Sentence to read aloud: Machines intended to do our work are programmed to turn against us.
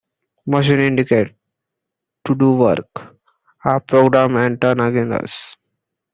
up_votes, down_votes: 0, 2